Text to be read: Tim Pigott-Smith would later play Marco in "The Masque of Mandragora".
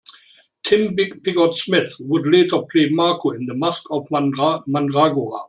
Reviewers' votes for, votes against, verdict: 2, 1, accepted